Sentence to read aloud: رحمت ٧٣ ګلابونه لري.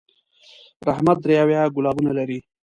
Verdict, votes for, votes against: rejected, 0, 2